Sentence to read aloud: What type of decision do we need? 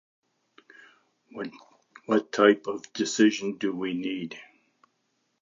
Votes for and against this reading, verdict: 0, 2, rejected